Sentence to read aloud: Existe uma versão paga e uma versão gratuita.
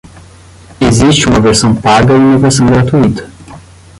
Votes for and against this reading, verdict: 5, 5, rejected